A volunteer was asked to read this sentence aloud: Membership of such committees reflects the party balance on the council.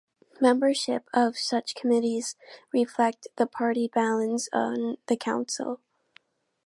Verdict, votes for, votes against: accepted, 2, 0